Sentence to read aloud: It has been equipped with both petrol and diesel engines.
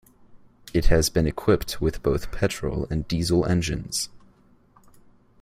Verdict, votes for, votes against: accepted, 2, 0